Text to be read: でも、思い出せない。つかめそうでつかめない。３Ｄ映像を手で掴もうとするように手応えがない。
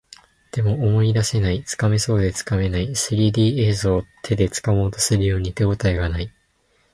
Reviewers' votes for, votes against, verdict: 0, 2, rejected